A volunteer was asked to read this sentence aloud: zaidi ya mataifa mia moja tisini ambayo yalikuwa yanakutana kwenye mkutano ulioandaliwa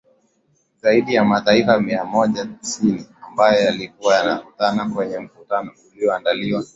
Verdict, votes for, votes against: accepted, 4, 0